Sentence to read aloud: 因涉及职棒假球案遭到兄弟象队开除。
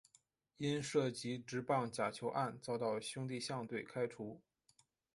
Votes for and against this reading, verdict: 0, 2, rejected